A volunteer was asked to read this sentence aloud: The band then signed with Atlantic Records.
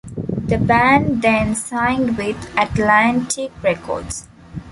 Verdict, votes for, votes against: rejected, 1, 2